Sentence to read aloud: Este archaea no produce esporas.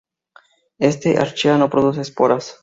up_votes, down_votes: 0, 2